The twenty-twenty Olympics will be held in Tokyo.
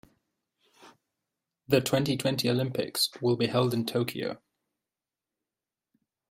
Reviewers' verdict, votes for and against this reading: accepted, 2, 0